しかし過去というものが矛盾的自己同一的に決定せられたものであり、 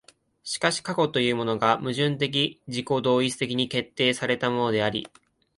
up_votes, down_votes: 2, 0